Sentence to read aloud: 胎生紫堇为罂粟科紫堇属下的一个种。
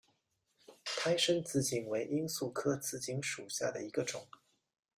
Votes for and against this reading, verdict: 2, 0, accepted